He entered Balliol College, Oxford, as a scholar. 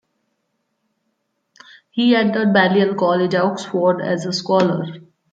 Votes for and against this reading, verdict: 2, 0, accepted